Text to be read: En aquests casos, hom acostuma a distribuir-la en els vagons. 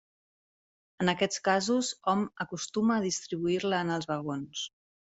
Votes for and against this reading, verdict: 3, 0, accepted